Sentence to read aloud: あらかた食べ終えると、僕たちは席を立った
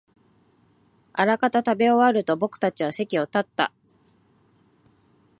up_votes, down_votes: 3, 0